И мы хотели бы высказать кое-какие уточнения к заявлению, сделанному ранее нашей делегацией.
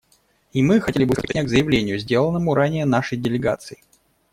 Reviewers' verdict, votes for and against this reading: rejected, 1, 2